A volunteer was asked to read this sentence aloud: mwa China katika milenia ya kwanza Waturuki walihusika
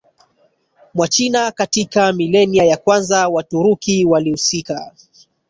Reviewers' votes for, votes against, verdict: 1, 2, rejected